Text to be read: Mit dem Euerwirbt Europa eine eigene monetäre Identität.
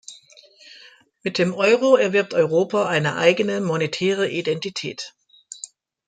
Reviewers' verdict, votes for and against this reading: rejected, 0, 2